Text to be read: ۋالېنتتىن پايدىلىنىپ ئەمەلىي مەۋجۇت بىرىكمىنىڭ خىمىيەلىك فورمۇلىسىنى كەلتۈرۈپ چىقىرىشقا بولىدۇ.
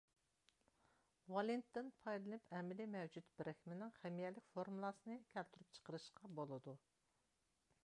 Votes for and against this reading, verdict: 1, 2, rejected